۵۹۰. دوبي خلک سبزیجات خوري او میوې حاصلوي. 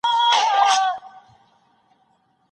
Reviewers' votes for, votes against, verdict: 0, 2, rejected